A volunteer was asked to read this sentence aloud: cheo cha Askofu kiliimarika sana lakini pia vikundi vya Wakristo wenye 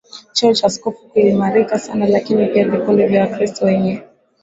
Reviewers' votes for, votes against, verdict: 8, 1, accepted